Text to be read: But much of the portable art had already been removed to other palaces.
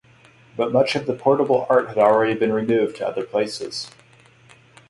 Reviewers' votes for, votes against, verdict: 0, 6, rejected